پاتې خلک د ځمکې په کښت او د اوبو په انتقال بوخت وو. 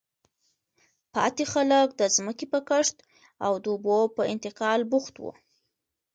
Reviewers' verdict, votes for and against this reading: accepted, 2, 0